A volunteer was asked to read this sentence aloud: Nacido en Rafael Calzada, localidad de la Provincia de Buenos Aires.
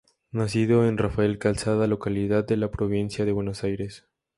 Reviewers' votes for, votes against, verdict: 4, 0, accepted